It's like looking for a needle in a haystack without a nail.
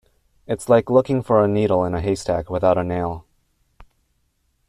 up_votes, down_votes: 2, 0